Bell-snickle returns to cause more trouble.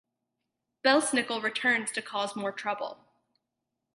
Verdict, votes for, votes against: rejected, 2, 2